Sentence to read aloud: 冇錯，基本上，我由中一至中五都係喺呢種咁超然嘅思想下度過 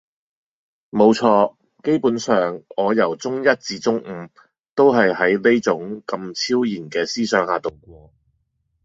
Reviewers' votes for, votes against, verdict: 1, 2, rejected